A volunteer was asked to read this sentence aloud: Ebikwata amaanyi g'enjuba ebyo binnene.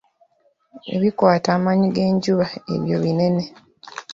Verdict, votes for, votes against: rejected, 1, 2